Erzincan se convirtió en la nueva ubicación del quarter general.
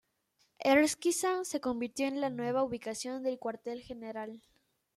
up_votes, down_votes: 1, 2